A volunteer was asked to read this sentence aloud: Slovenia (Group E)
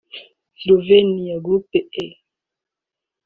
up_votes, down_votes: 1, 2